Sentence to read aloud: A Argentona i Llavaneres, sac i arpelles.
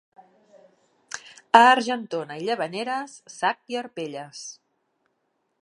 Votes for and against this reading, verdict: 2, 1, accepted